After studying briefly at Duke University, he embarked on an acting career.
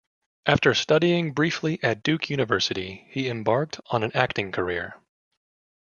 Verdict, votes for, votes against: accepted, 2, 0